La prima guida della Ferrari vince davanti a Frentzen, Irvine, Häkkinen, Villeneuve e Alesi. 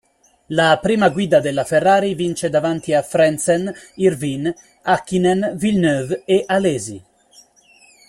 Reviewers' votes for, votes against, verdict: 0, 2, rejected